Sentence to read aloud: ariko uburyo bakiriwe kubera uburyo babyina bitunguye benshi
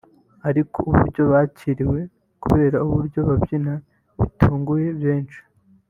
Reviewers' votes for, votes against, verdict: 3, 0, accepted